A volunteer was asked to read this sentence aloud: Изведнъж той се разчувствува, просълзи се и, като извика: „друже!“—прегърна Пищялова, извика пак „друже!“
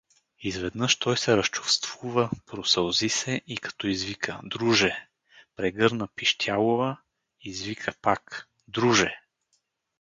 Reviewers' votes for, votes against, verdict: 2, 2, rejected